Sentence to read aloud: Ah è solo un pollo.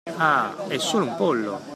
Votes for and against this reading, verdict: 2, 0, accepted